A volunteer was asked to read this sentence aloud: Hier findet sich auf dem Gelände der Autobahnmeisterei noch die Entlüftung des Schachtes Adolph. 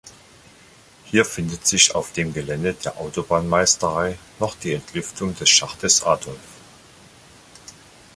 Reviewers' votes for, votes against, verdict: 2, 0, accepted